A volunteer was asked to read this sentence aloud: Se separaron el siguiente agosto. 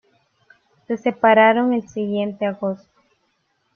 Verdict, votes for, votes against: rejected, 1, 2